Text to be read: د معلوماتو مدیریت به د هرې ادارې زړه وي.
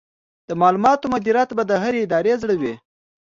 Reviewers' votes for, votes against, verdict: 2, 0, accepted